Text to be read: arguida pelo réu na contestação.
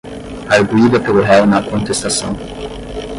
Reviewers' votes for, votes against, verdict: 0, 10, rejected